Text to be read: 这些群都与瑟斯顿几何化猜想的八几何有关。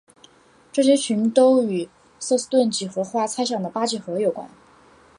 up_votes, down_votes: 4, 0